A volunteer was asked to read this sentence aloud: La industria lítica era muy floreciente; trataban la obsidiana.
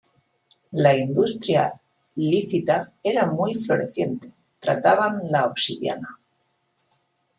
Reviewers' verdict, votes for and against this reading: rejected, 1, 2